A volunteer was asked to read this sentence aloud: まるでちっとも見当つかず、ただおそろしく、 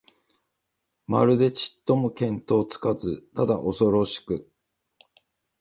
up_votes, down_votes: 2, 0